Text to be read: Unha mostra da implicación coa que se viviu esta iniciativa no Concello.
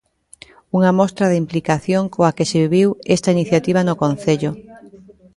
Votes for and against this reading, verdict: 0, 2, rejected